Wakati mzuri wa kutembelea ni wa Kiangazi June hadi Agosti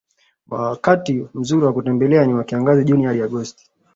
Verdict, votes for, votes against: accepted, 2, 1